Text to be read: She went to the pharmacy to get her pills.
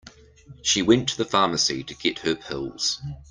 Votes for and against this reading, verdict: 2, 0, accepted